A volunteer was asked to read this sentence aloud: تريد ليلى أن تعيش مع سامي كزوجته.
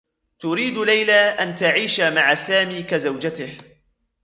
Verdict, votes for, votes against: rejected, 1, 2